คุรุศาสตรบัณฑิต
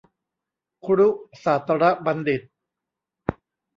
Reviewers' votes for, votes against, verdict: 1, 2, rejected